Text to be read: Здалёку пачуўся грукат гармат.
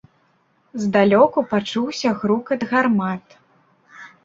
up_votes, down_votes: 2, 0